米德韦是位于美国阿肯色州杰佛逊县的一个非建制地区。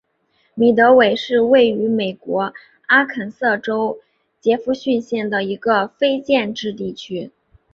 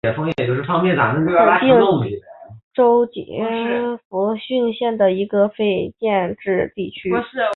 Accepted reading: first